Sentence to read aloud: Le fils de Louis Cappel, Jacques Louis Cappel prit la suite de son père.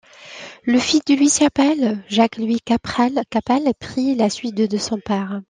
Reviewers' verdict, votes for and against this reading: rejected, 0, 2